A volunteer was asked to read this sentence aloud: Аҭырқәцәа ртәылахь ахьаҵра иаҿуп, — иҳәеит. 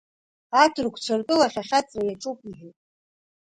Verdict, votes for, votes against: rejected, 0, 2